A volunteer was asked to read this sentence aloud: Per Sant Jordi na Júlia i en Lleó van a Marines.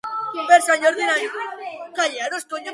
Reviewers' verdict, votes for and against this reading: rejected, 0, 2